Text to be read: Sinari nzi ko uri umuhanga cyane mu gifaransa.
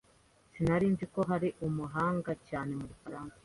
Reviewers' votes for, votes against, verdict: 1, 2, rejected